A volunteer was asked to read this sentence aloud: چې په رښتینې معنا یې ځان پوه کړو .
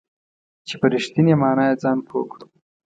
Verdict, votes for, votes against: accepted, 2, 0